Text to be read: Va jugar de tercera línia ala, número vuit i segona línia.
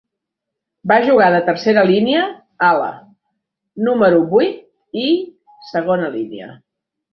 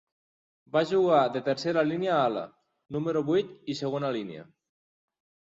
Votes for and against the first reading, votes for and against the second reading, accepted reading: 0, 2, 3, 0, second